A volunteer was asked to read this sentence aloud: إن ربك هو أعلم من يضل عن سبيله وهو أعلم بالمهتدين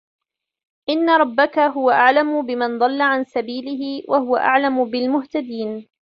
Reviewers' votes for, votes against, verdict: 2, 0, accepted